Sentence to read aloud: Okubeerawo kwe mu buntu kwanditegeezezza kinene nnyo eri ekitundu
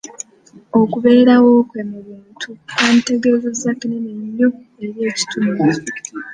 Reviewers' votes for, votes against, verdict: 0, 2, rejected